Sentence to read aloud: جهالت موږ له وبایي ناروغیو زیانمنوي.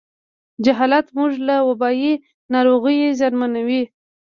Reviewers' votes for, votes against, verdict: 2, 1, accepted